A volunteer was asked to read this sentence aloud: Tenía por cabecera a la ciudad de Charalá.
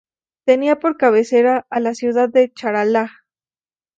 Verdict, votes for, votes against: accepted, 2, 0